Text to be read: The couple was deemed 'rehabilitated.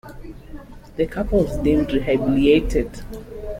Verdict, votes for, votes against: rejected, 0, 2